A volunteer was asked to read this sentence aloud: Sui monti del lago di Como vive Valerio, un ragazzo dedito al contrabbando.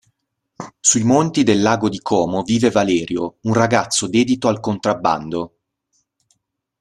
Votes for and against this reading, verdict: 2, 0, accepted